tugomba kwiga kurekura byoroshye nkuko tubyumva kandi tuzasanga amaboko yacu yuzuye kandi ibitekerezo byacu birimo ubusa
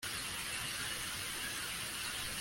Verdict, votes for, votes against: rejected, 0, 2